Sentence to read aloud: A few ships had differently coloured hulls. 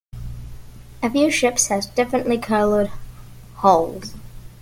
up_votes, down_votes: 0, 2